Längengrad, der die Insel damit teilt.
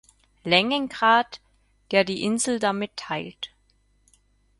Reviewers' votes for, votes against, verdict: 4, 0, accepted